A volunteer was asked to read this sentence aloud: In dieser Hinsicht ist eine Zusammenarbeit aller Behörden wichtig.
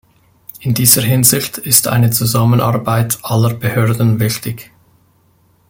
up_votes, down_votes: 2, 0